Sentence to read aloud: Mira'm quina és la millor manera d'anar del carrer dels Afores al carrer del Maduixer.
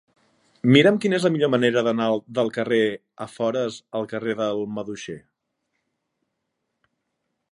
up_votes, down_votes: 0, 2